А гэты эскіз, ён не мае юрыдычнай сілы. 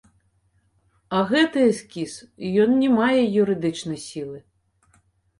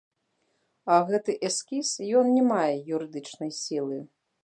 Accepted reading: second